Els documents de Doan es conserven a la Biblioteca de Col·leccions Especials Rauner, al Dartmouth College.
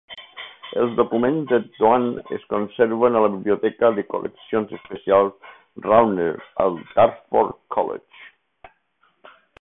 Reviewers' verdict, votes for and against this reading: accepted, 4, 0